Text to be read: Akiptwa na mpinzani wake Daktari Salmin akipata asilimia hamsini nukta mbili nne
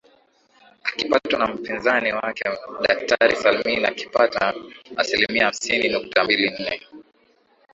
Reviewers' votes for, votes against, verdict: 2, 1, accepted